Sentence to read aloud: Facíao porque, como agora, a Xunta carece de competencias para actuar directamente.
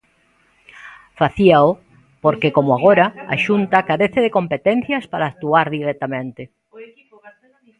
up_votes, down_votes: 0, 2